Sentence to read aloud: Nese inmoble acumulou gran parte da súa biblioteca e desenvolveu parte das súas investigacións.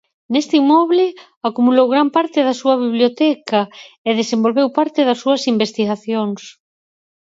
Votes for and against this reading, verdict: 2, 4, rejected